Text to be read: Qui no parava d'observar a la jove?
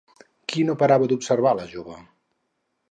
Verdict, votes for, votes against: accepted, 4, 0